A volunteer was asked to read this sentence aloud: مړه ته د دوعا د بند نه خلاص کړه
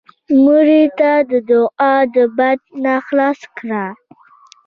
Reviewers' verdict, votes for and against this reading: accepted, 2, 0